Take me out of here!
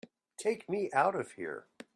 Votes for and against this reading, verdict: 3, 0, accepted